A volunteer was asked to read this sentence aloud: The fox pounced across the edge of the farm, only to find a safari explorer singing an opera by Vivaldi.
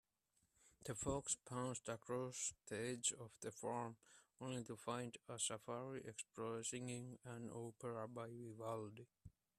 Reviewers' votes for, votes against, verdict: 0, 2, rejected